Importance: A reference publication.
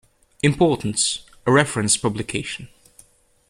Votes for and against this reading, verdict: 2, 0, accepted